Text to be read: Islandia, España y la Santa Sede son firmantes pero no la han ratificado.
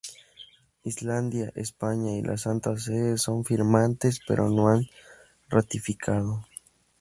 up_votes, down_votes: 0, 2